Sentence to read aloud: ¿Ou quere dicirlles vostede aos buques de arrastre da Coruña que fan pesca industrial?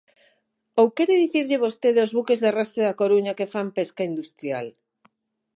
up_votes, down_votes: 3, 6